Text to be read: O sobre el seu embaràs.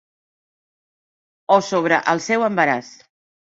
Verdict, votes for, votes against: accepted, 3, 0